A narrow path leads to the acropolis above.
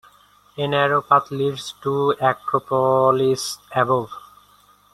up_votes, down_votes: 2, 0